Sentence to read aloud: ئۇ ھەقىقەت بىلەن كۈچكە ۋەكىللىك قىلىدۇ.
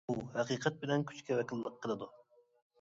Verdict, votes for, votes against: accepted, 2, 0